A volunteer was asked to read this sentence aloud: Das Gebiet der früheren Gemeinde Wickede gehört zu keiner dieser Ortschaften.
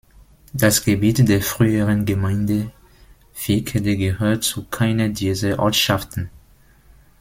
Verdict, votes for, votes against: accepted, 3, 0